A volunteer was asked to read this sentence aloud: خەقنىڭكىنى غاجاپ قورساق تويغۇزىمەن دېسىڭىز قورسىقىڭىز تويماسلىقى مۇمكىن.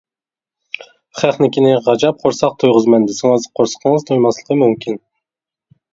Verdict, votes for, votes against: accepted, 2, 0